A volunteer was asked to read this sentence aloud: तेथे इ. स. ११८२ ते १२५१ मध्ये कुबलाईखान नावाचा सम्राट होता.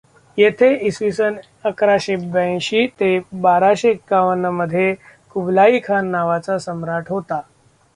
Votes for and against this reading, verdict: 0, 2, rejected